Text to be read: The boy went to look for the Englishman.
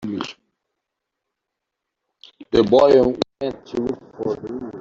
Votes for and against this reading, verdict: 1, 3, rejected